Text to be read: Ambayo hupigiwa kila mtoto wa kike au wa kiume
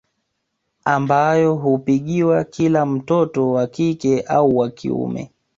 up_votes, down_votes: 3, 0